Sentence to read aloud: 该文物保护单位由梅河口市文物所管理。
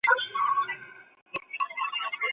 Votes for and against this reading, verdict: 0, 2, rejected